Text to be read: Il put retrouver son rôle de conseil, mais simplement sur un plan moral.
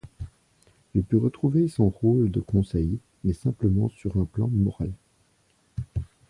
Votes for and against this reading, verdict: 2, 0, accepted